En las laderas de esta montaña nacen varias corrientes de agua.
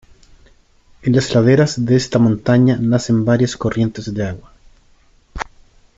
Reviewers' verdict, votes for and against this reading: accepted, 2, 0